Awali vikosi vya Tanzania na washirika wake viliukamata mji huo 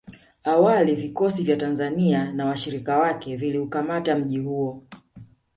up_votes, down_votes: 2, 0